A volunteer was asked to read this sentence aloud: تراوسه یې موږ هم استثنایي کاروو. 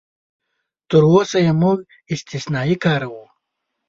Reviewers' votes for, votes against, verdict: 1, 2, rejected